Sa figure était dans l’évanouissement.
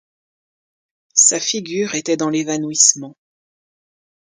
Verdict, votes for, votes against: accepted, 2, 0